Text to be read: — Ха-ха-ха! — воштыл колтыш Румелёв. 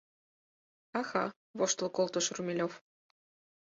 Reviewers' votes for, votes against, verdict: 2, 4, rejected